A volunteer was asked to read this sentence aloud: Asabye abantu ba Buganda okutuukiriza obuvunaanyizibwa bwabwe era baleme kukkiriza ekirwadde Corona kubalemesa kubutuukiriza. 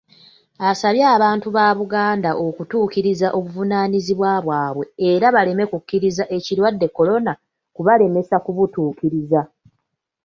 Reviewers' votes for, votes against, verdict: 2, 0, accepted